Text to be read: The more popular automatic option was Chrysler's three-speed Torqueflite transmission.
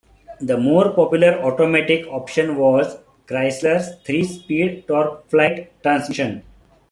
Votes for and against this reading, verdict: 2, 1, accepted